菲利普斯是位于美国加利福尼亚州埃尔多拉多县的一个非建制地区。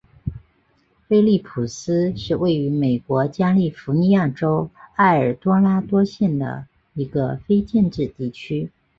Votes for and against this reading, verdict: 5, 0, accepted